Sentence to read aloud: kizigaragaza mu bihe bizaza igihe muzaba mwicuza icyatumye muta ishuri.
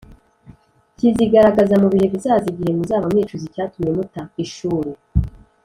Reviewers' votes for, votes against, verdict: 2, 0, accepted